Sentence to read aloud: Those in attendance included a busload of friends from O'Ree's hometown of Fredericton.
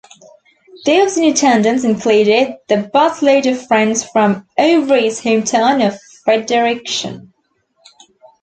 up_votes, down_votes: 0, 2